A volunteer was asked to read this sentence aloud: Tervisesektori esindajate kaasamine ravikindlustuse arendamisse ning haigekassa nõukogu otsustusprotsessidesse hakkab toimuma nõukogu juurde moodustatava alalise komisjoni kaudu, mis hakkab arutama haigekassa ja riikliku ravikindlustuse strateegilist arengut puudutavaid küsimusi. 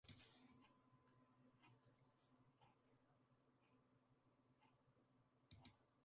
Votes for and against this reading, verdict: 0, 2, rejected